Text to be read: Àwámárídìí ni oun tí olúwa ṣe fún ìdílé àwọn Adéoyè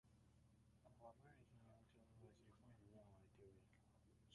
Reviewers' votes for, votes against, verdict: 0, 2, rejected